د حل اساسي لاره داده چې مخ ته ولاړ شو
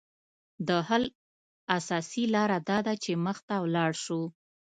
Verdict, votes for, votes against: accepted, 2, 0